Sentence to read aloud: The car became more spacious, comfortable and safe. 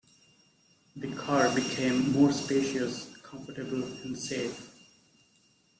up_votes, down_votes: 0, 2